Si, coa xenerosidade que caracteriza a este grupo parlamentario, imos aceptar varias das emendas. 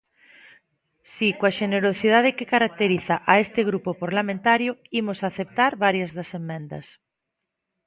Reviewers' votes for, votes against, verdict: 1, 2, rejected